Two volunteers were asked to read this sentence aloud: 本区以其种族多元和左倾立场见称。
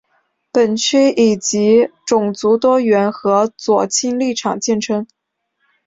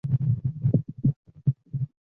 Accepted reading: first